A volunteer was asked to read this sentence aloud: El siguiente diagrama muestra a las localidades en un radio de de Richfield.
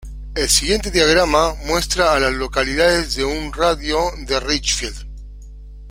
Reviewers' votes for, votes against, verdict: 0, 2, rejected